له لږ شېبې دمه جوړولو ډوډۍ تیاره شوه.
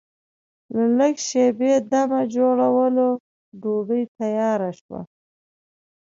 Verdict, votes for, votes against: accepted, 2, 0